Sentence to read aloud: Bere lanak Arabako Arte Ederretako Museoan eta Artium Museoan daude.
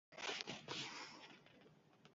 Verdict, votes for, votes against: rejected, 0, 2